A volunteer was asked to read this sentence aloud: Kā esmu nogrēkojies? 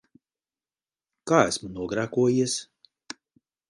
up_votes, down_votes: 4, 0